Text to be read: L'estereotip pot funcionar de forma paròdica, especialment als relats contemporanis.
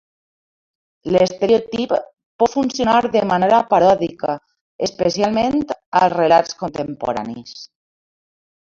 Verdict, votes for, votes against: rejected, 1, 2